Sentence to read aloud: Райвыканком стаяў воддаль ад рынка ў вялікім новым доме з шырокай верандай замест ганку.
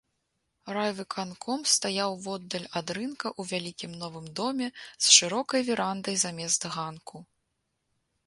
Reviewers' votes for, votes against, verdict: 2, 0, accepted